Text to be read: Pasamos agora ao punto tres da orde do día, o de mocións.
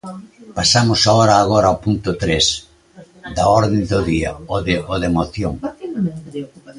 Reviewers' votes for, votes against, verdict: 0, 2, rejected